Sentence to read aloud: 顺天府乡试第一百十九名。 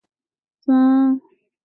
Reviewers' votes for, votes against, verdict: 3, 4, rejected